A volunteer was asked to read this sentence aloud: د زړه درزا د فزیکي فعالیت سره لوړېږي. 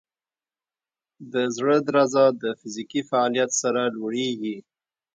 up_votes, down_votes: 1, 2